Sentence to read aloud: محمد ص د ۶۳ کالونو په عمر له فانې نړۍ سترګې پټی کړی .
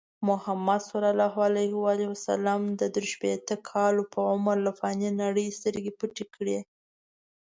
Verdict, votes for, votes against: rejected, 0, 2